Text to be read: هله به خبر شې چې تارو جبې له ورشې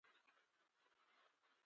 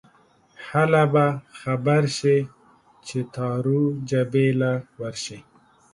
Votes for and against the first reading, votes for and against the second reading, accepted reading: 0, 2, 2, 0, second